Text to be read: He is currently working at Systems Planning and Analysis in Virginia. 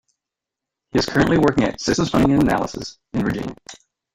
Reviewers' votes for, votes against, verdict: 1, 2, rejected